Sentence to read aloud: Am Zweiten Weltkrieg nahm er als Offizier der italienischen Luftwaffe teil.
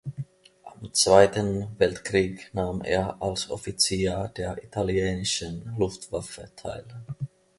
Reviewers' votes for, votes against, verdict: 2, 1, accepted